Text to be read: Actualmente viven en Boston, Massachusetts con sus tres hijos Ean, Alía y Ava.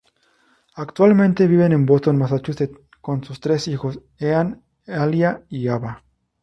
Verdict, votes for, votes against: rejected, 2, 2